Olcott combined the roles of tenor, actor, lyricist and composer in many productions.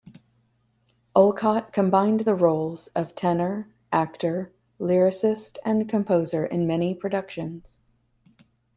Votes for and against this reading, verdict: 2, 0, accepted